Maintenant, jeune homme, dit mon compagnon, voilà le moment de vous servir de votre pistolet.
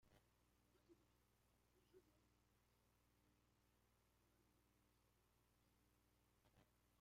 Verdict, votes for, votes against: rejected, 0, 2